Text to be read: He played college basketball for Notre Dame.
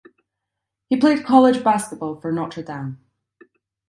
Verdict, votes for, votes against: accepted, 2, 0